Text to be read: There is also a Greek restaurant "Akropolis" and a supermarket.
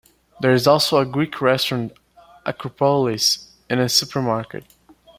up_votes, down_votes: 2, 0